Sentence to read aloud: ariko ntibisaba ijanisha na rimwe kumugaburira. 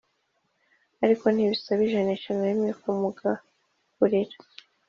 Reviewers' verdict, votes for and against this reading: accepted, 2, 0